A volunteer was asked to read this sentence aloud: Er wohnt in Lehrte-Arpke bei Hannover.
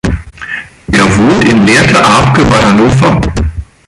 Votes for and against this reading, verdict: 2, 1, accepted